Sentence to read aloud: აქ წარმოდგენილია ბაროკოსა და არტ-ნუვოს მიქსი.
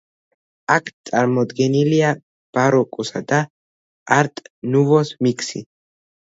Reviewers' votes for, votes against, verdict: 2, 0, accepted